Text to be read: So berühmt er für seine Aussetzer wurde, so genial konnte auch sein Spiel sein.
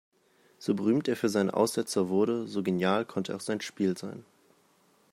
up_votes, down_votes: 2, 0